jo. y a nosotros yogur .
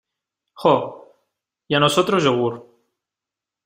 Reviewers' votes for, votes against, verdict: 2, 0, accepted